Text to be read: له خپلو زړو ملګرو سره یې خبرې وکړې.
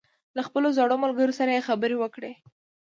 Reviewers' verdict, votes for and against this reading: accepted, 2, 0